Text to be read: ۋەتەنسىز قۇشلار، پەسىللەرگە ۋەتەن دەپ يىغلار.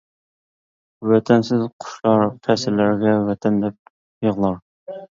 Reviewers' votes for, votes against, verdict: 0, 2, rejected